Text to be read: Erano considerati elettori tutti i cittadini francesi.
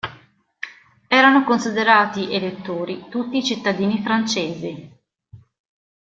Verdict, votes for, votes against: rejected, 1, 2